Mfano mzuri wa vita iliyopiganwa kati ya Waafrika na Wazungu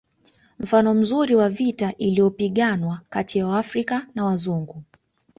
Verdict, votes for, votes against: accepted, 2, 0